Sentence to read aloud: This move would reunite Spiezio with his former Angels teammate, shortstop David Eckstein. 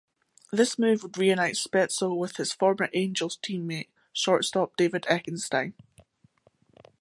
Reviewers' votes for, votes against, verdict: 1, 2, rejected